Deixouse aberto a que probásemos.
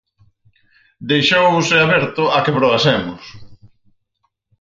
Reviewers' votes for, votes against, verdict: 0, 4, rejected